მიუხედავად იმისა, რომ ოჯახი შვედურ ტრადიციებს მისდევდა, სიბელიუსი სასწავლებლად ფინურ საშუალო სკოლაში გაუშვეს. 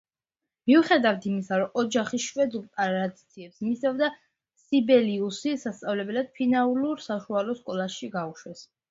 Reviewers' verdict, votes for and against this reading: rejected, 0, 2